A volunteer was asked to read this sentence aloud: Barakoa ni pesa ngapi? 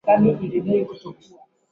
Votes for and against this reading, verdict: 1, 2, rejected